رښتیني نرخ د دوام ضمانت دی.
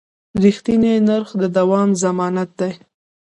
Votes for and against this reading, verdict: 2, 1, accepted